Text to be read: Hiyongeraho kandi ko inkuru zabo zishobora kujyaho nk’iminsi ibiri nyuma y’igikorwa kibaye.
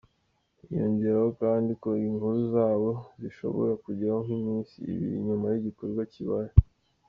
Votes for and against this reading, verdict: 1, 2, rejected